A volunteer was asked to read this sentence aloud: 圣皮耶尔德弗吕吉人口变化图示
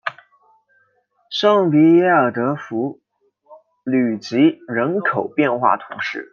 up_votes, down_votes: 2, 0